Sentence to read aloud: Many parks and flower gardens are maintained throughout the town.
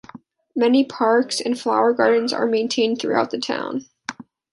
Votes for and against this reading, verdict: 2, 1, accepted